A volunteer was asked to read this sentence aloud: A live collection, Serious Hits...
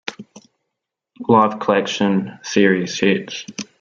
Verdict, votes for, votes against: accepted, 2, 1